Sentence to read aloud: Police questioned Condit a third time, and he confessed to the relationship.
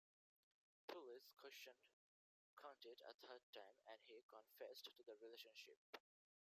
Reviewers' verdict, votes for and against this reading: rejected, 0, 2